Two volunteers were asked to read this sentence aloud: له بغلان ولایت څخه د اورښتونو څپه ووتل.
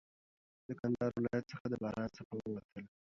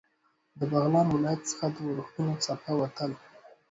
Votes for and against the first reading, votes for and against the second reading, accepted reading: 1, 2, 2, 1, second